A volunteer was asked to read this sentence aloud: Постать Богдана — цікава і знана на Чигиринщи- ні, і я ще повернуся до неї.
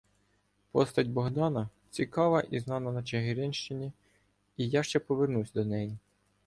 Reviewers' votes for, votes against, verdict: 1, 2, rejected